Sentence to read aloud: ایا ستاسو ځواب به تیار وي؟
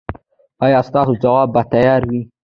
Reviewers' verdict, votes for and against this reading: accepted, 2, 0